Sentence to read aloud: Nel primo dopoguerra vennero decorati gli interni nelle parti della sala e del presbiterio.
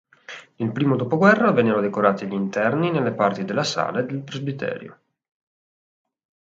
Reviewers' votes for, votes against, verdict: 3, 0, accepted